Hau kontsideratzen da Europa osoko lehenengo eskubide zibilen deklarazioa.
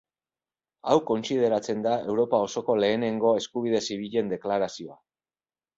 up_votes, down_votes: 2, 0